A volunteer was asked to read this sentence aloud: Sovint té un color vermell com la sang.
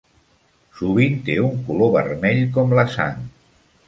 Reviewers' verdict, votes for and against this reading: accepted, 3, 0